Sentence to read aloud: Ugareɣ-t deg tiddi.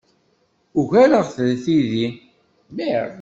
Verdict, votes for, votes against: rejected, 1, 2